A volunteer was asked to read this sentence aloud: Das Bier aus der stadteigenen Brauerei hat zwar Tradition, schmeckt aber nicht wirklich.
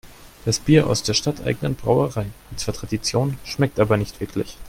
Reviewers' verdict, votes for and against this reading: accepted, 2, 0